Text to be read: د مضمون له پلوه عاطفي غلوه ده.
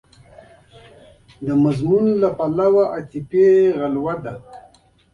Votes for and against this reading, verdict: 2, 0, accepted